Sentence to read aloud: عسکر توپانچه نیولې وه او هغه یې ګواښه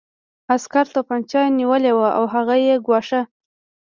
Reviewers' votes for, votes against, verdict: 1, 2, rejected